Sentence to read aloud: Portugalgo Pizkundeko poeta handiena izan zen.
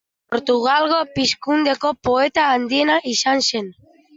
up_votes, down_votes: 2, 0